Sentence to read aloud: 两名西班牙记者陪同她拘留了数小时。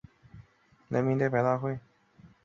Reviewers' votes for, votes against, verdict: 0, 4, rejected